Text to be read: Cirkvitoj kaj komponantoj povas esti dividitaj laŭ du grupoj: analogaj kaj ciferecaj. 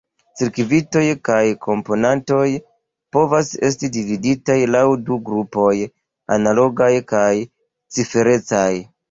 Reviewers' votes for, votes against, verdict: 2, 0, accepted